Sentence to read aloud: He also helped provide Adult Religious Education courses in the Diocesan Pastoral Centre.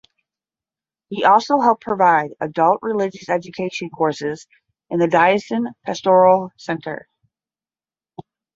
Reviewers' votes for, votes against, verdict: 10, 5, accepted